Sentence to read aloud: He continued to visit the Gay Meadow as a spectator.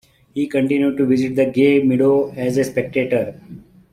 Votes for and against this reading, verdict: 2, 0, accepted